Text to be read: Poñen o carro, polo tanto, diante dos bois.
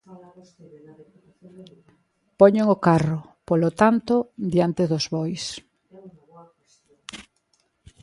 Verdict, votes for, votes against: rejected, 1, 2